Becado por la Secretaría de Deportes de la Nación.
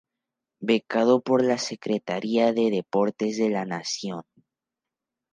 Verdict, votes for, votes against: accepted, 2, 0